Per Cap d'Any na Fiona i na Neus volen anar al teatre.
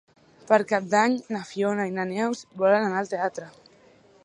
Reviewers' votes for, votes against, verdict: 3, 0, accepted